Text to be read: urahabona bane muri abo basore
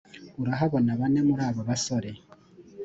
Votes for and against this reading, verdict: 2, 0, accepted